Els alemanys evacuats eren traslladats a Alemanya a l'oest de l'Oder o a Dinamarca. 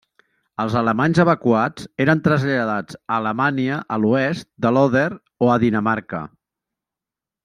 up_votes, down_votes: 2, 0